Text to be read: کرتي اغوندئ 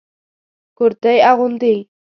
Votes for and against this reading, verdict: 2, 0, accepted